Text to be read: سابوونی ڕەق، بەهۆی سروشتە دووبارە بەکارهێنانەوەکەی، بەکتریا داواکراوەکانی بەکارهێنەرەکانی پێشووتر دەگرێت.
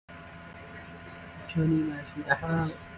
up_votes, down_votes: 0, 2